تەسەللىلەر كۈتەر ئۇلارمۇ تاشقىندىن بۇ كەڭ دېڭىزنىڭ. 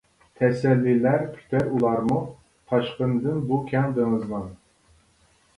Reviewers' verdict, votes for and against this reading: rejected, 1, 2